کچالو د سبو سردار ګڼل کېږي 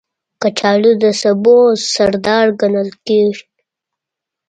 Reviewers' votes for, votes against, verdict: 1, 2, rejected